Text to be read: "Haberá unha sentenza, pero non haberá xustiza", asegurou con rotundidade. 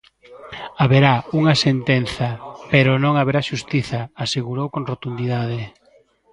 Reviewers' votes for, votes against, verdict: 2, 0, accepted